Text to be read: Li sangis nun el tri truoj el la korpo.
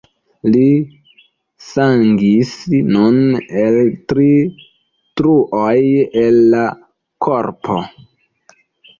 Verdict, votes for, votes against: accepted, 2, 1